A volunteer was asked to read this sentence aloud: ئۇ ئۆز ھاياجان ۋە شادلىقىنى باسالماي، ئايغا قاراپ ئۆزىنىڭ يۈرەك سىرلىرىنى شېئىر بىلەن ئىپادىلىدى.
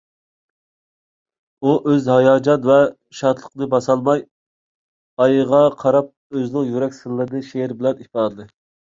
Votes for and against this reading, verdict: 2, 1, accepted